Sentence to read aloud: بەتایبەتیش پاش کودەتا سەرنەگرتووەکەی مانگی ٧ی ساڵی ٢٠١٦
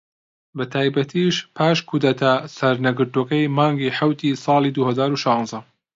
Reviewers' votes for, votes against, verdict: 0, 2, rejected